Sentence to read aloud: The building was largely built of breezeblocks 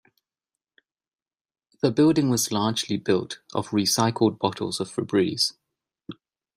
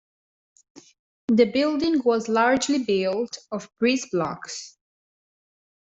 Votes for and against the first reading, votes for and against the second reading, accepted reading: 0, 2, 2, 0, second